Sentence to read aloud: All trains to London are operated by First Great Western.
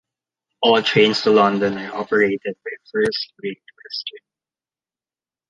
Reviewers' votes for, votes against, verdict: 2, 0, accepted